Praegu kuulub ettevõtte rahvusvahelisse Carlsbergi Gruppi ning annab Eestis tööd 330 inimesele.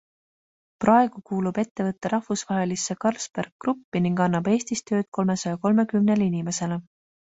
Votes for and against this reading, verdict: 0, 2, rejected